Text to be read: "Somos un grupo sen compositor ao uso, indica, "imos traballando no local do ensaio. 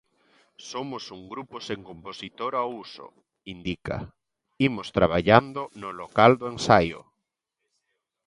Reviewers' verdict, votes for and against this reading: accepted, 2, 0